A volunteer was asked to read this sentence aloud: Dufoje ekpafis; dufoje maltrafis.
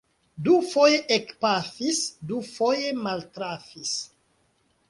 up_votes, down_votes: 1, 2